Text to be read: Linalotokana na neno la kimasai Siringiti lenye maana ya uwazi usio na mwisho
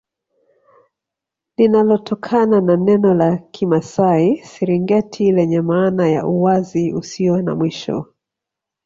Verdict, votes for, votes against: rejected, 1, 2